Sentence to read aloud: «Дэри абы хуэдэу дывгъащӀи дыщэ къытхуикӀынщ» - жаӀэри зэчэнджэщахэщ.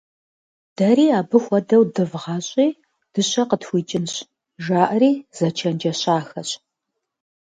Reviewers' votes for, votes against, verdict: 2, 0, accepted